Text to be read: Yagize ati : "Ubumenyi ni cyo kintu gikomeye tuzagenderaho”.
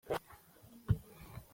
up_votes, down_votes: 0, 2